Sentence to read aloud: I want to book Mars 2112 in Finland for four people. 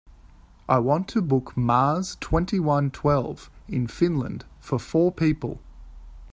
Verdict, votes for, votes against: rejected, 0, 2